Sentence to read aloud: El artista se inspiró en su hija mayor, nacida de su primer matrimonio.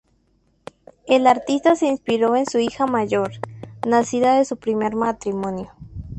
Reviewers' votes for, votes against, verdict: 4, 0, accepted